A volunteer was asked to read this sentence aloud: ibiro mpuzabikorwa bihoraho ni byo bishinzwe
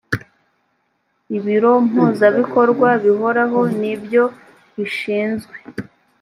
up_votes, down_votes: 2, 0